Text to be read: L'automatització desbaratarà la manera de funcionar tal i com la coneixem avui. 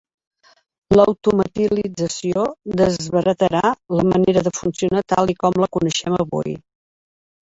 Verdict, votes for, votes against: rejected, 1, 2